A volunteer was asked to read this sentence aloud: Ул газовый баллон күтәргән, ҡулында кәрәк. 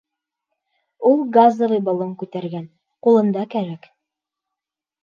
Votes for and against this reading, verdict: 2, 1, accepted